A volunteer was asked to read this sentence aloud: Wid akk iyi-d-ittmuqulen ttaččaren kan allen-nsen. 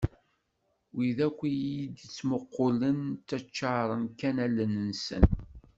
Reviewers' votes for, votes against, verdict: 2, 0, accepted